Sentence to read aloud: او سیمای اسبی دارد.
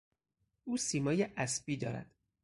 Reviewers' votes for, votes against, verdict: 4, 0, accepted